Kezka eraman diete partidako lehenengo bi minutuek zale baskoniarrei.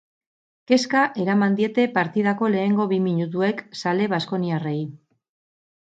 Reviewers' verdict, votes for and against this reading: accepted, 4, 0